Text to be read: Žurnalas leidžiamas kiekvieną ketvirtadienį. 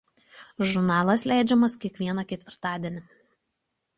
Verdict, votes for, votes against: accepted, 2, 0